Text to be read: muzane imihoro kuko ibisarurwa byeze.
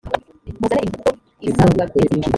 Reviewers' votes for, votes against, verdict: 0, 2, rejected